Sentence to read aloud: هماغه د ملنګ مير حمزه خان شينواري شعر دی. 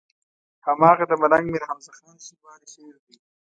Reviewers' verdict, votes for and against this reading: rejected, 1, 2